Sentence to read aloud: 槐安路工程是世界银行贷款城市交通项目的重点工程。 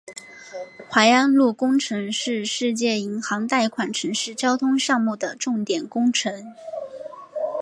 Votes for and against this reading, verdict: 4, 0, accepted